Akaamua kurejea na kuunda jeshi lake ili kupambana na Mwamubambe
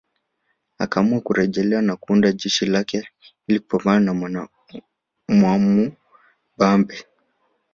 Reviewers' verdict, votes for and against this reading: rejected, 1, 3